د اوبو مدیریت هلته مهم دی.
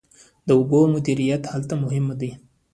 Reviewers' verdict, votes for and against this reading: accepted, 2, 1